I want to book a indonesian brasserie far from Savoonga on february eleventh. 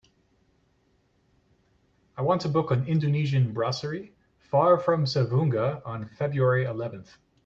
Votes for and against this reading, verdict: 0, 2, rejected